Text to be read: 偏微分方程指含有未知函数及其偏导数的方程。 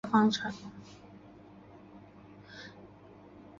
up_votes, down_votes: 0, 3